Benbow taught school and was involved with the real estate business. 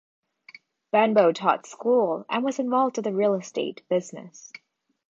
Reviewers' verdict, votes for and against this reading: accepted, 2, 0